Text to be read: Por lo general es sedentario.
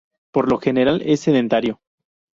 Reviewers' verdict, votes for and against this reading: accepted, 2, 0